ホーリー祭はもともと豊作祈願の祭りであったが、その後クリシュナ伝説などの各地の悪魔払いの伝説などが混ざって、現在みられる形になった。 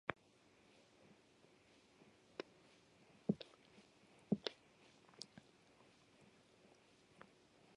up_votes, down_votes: 0, 2